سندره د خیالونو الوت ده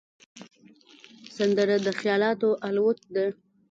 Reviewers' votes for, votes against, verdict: 1, 2, rejected